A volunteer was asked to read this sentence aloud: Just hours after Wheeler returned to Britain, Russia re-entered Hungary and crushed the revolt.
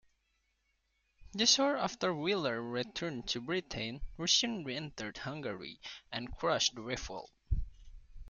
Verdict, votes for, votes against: rejected, 1, 2